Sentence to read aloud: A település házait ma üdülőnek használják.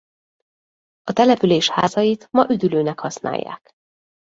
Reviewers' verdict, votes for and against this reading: rejected, 1, 2